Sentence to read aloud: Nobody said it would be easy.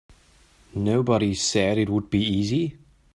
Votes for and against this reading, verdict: 2, 0, accepted